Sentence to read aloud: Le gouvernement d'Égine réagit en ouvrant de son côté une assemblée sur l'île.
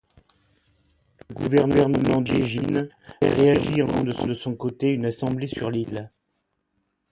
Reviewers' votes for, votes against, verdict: 1, 2, rejected